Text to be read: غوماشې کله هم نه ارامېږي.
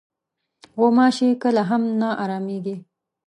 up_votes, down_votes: 2, 0